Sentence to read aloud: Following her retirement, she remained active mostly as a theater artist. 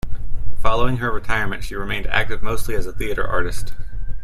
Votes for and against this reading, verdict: 2, 0, accepted